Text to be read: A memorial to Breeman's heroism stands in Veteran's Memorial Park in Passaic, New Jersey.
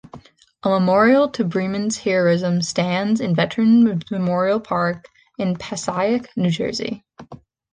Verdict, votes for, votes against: rejected, 1, 2